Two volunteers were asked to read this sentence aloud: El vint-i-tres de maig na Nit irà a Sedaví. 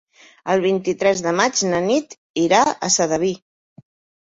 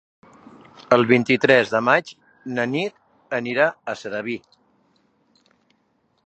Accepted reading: first